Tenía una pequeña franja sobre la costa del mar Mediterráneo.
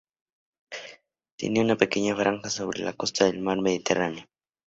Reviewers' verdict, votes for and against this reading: accepted, 2, 0